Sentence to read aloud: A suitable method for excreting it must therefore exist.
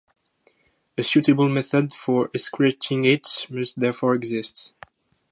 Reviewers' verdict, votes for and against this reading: rejected, 2, 2